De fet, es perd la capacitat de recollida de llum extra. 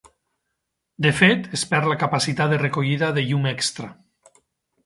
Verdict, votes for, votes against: accepted, 4, 0